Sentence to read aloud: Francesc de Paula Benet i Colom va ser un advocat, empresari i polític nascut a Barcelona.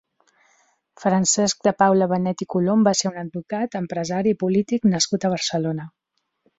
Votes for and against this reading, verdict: 5, 0, accepted